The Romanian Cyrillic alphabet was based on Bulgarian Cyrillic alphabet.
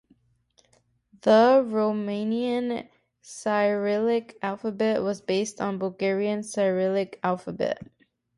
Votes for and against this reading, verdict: 2, 0, accepted